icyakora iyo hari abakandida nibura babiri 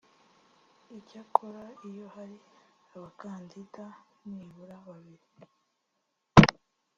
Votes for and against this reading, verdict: 2, 0, accepted